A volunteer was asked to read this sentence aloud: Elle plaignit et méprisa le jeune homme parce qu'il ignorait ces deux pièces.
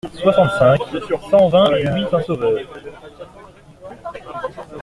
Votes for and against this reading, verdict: 0, 2, rejected